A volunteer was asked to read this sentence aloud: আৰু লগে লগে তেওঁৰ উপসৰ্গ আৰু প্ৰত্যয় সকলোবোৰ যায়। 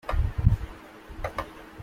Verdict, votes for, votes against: rejected, 0, 2